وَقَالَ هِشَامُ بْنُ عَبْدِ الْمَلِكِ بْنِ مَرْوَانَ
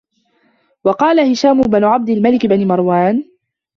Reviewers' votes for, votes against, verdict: 1, 2, rejected